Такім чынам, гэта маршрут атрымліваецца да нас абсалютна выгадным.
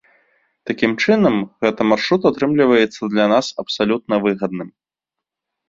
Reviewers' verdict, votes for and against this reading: rejected, 0, 2